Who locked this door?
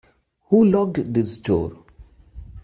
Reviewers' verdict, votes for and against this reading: accepted, 2, 0